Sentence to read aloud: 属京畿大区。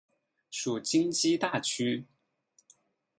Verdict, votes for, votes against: rejected, 2, 4